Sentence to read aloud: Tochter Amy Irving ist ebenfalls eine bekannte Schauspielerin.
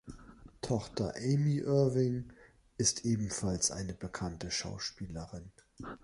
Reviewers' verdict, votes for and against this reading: accepted, 3, 0